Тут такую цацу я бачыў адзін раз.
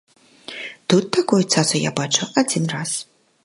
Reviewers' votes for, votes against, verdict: 2, 0, accepted